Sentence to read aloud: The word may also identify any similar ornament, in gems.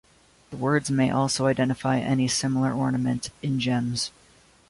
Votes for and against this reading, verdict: 1, 2, rejected